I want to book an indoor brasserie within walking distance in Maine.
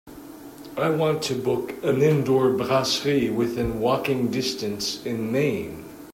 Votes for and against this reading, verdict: 2, 0, accepted